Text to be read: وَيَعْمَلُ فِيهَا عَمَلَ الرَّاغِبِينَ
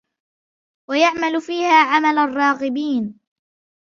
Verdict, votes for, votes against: accepted, 2, 0